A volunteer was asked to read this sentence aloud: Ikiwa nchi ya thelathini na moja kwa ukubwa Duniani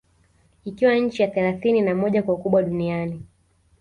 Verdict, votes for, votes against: accepted, 2, 1